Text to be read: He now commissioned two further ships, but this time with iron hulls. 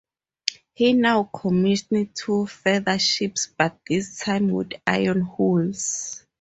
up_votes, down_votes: 2, 0